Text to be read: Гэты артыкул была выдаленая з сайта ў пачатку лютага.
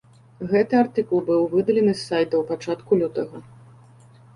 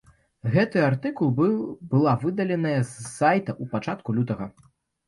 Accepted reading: first